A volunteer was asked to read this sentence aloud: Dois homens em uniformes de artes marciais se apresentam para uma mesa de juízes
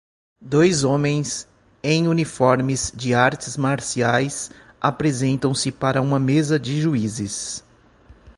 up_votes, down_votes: 1, 2